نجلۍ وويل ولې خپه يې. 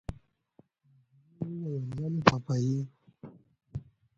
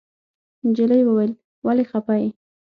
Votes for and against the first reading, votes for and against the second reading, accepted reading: 0, 2, 6, 0, second